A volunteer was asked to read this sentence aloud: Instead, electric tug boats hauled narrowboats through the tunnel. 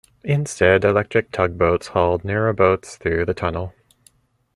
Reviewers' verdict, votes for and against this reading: accepted, 2, 0